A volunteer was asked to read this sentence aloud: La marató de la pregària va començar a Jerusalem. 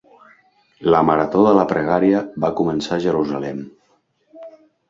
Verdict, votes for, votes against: accepted, 2, 0